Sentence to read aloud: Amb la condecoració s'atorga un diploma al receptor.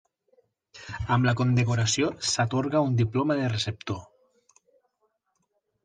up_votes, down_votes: 1, 2